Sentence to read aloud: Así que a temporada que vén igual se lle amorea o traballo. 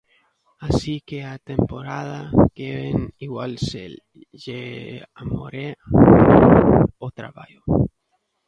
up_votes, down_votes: 0, 2